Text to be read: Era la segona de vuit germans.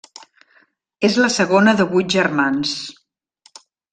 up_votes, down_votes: 0, 2